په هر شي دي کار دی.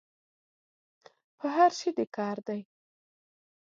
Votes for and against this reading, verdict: 2, 0, accepted